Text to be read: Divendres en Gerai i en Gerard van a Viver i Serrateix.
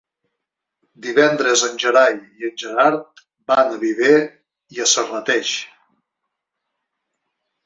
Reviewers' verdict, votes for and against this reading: rejected, 1, 2